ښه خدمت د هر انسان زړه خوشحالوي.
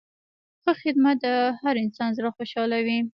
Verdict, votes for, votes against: rejected, 0, 2